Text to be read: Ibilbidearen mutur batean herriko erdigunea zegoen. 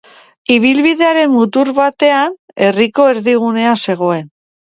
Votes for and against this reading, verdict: 2, 0, accepted